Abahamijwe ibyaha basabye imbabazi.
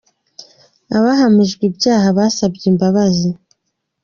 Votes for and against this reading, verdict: 3, 1, accepted